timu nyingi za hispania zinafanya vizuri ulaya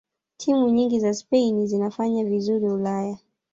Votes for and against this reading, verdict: 0, 2, rejected